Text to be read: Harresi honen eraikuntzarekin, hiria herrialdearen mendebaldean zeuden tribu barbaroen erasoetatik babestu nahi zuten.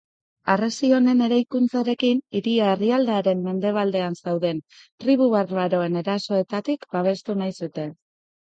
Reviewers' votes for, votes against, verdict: 2, 0, accepted